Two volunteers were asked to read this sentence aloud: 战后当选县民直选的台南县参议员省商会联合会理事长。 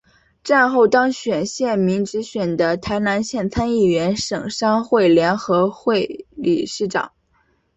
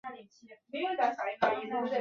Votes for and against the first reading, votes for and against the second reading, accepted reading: 2, 0, 0, 2, first